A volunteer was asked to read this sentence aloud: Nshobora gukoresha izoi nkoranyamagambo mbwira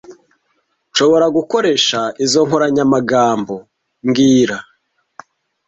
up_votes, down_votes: 0, 2